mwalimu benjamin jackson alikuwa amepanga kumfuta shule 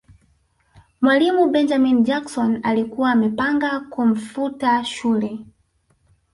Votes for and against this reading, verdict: 2, 0, accepted